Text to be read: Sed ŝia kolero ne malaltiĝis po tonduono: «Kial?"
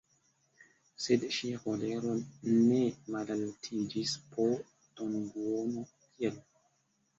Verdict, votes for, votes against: rejected, 1, 2